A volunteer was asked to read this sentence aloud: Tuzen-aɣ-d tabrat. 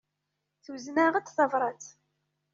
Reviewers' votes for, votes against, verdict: 2, 0, accepted